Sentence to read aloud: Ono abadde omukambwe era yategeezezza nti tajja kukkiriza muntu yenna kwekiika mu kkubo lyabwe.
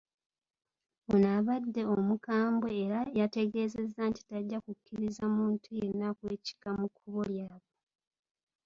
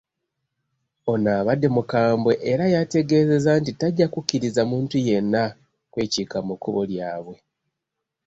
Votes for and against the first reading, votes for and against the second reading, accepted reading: 2, 0, 0, 2, first